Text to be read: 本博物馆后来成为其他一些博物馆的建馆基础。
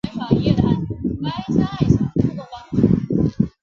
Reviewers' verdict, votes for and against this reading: rejected, 1, 2